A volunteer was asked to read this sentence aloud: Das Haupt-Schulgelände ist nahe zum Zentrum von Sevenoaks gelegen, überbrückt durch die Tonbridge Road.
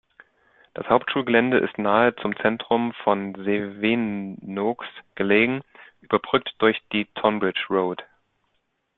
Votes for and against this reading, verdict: 0, 2, rejected